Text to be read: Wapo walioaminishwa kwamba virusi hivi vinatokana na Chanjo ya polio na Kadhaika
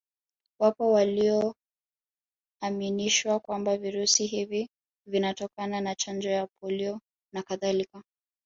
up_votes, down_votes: 0, 2